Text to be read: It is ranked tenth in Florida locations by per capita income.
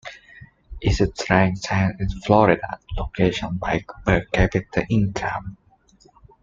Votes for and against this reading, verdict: 0, 2, rejected